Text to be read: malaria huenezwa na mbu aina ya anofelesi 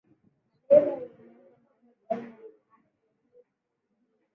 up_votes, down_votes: 0, 9